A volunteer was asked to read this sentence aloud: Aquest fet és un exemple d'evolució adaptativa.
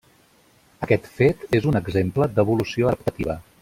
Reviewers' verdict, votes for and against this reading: rejected, 1, 2